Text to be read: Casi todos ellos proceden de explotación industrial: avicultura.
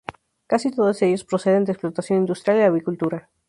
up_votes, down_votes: 0, 2